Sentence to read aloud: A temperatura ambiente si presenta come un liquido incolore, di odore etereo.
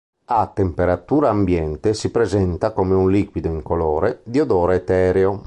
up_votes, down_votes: 1, 2